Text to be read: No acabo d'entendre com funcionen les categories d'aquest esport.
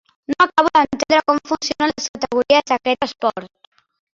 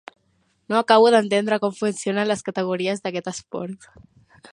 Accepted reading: second